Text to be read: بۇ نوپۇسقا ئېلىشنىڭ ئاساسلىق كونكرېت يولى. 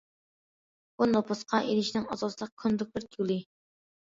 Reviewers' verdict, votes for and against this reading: rejected, 0, 2